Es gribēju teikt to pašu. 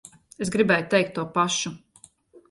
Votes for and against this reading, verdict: 2, 0, accepted